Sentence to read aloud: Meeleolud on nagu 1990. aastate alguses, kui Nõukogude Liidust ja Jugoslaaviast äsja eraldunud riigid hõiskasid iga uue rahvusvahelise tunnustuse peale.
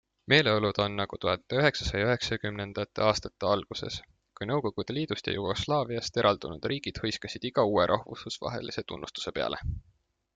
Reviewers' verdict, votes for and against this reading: rejected, 0, 2